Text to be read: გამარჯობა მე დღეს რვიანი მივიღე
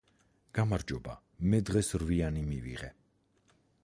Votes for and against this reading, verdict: 4, 0, accepted